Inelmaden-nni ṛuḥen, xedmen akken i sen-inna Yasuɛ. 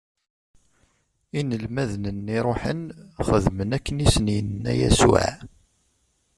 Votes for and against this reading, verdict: 2, 0, accepted